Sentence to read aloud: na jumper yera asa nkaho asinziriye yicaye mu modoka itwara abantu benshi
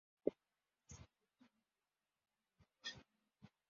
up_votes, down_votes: 0, 2